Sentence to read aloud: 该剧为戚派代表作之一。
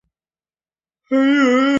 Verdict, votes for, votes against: rejected, 0, 2